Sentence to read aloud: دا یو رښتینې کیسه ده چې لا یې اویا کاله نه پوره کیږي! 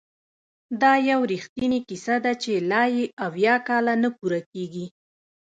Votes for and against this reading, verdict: 2, 0, accepted